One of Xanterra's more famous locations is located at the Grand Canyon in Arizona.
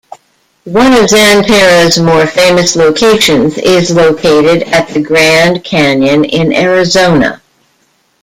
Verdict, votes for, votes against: rejected, 1, 2